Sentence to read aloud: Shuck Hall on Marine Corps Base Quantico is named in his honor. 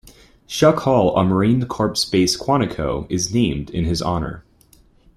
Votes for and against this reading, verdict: 2, 1, accepted